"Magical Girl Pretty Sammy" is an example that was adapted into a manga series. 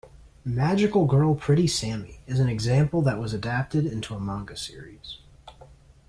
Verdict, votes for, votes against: accepted, 2, 0